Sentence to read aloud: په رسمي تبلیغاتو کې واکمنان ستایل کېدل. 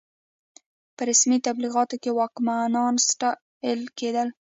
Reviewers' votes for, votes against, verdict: 2, 0, accepted